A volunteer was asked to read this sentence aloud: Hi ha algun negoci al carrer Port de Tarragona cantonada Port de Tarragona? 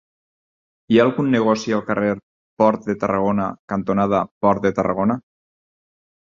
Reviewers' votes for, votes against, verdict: 6, 0, accepted